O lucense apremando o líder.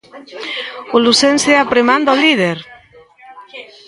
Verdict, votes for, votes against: rejected, 0, 2